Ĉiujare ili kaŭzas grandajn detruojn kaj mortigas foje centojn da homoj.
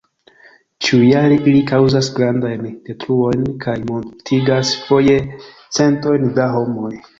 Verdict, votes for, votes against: rejected, 1, 2